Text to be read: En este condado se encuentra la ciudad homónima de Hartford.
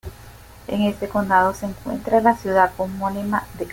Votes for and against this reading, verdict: 0, 2, rejected